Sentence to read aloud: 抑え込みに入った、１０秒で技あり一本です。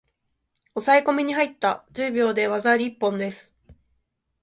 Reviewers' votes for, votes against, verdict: 0, 2, rejected